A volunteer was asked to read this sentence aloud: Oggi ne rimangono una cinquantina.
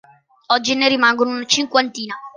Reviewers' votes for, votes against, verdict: 2, 1, accepted